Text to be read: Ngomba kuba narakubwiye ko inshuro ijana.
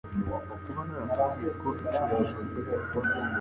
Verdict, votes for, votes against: rejected, 0, 2